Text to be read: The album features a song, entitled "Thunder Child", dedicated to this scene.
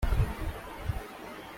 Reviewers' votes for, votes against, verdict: 0, 2, rejected